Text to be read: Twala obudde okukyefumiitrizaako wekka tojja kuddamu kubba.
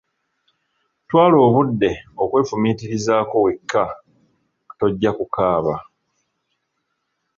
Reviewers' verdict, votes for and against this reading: rejected, 0, 2